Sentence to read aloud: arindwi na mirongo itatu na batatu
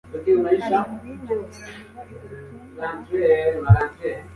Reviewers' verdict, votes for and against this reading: rejected, 1, 2